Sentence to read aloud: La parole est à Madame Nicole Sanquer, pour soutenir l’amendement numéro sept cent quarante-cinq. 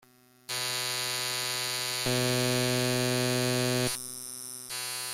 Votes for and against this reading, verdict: 0, 2, rejected